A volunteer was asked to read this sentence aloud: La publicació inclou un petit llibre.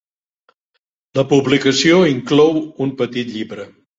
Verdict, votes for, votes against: accepted, 3, 0